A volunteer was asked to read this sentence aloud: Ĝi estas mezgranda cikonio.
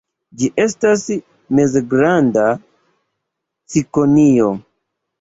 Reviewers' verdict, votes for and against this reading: accepted, 3, 0